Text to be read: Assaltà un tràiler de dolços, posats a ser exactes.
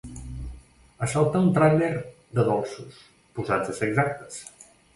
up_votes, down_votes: 2, 0